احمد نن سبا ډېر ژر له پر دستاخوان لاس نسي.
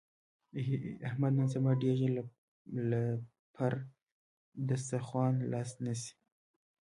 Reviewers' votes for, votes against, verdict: 2, 1, accepted